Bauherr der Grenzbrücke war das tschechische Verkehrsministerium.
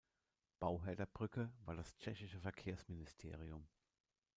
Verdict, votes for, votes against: rejected, 0, 2